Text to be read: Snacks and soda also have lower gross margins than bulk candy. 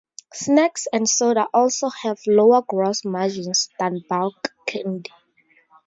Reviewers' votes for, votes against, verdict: 4, 0, accepted